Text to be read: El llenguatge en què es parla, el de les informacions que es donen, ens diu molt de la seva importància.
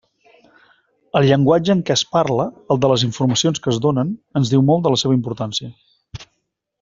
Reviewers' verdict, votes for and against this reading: accepted, 3, 0